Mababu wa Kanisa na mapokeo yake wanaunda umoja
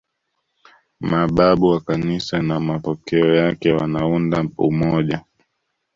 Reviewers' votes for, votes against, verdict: 0, 2, rejected